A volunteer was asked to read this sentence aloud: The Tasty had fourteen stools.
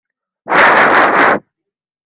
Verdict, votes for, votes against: rejected, 0, 2